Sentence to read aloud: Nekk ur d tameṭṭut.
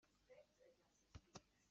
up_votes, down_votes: 1, 2